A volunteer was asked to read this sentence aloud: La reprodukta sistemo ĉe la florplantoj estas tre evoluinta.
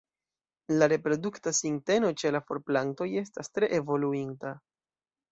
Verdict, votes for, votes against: rejected, 0, 2